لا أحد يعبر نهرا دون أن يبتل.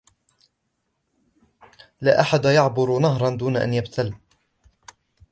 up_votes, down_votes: 2, 0